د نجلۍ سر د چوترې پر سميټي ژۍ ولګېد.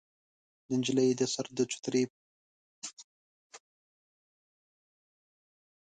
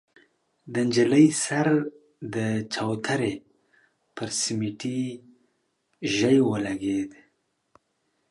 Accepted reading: second